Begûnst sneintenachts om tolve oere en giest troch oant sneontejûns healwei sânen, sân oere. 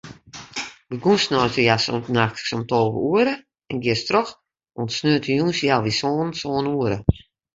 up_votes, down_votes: 0, 2